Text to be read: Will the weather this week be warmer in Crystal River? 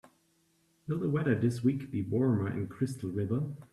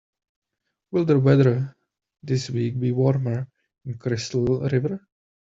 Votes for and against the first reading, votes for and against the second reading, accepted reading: 2, 0, 0, 2, first